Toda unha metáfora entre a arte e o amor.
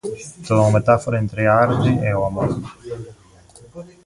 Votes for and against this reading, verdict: 0, 2, rejected